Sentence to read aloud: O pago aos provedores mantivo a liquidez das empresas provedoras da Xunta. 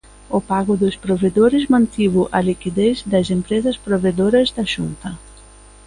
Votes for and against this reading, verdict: 0, 2, rejected